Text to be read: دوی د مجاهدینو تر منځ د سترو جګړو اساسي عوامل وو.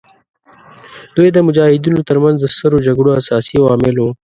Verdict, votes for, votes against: accepted, 2, 0